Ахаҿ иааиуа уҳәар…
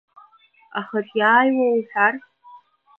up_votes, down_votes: 1, 2